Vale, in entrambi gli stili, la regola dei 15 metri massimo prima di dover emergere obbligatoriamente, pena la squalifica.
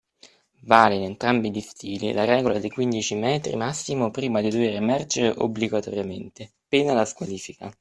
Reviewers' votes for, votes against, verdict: 0, 2, rejected